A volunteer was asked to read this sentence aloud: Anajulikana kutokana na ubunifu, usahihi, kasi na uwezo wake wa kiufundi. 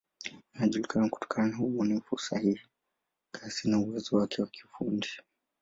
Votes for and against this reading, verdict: 2, 0, accepted